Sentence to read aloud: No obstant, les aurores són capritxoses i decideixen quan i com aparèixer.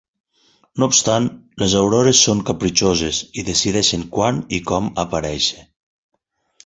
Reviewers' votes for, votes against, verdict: 4, 0, accepted